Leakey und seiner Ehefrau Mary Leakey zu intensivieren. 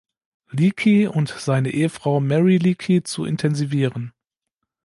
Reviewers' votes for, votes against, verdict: 0, 2, rejected